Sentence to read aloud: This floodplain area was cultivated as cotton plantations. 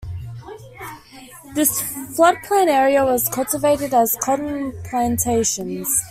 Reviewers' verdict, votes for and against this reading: accepted, 2, 0